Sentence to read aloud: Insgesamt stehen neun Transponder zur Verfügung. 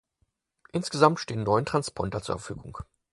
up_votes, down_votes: 4, 0